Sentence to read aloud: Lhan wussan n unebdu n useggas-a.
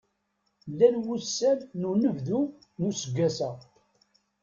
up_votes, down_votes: 1, 2